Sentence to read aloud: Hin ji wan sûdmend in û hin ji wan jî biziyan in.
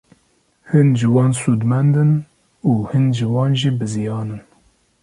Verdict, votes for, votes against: accepted, 2, 0